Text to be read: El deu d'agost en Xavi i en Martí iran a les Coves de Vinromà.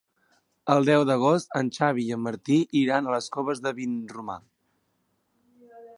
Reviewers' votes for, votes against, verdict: 3, 1, accepted